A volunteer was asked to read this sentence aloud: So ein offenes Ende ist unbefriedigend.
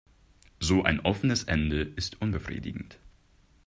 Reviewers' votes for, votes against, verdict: 2, 0, accepted